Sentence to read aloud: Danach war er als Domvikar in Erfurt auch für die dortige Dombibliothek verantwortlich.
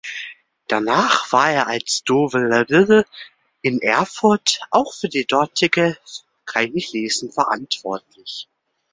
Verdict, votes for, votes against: rejected, 0, 4